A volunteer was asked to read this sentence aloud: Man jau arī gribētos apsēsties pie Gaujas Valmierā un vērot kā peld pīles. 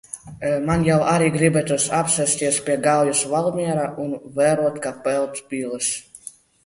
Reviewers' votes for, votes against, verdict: 2, 0, accepted